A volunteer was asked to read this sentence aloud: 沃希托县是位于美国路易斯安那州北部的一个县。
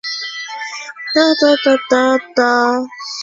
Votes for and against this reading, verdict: 0, 2, rejected